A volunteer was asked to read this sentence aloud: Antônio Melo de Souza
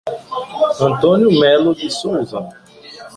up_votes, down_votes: 1, 2